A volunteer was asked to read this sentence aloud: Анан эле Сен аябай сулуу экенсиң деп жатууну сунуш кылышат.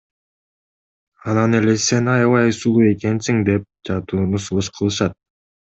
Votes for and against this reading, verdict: 2, 0, accepted